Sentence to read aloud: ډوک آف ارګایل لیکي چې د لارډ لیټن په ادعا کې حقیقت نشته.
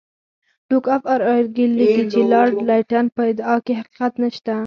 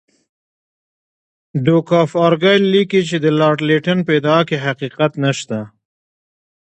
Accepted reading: second